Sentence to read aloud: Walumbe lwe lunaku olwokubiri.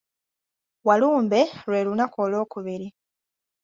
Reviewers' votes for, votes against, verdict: 2, 0, accepted